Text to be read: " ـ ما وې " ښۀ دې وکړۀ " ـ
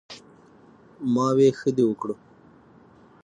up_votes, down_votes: 6, 0